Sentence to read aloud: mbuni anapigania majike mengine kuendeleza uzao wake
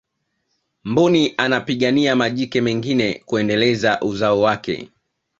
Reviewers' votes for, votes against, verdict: 2, 0, accepted